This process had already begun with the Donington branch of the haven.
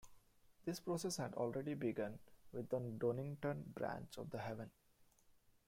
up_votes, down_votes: 0, 2